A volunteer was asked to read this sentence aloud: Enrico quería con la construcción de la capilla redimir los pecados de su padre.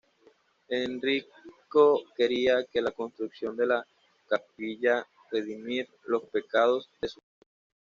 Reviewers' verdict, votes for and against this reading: rejected, 1, 2